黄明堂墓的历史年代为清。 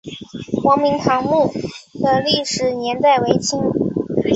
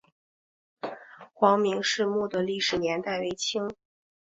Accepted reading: first